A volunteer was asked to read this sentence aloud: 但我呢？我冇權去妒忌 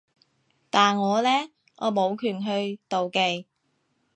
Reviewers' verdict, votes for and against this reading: accepted, 2, 0